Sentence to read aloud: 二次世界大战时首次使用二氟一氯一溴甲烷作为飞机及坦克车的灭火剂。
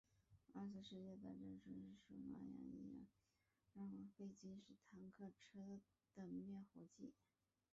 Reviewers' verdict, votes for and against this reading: rejected, 0, 2